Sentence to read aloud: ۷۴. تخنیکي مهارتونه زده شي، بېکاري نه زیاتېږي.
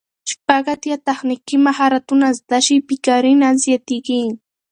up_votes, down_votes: 0, 2